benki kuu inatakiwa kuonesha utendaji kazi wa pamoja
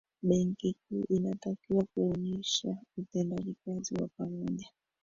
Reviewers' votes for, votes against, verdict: 1, 2, rejected